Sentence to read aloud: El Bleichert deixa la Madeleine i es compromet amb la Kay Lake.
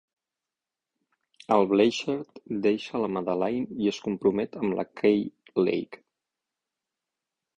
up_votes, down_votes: 12, 0